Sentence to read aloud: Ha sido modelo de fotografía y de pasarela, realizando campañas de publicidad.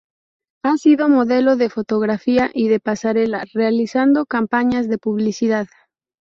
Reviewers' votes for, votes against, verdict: 2, 2, rejected